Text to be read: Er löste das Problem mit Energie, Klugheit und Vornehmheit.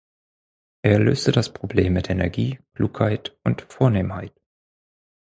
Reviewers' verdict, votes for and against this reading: rejected, 2, 4